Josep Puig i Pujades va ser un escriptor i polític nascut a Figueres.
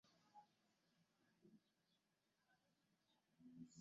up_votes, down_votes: 0, 2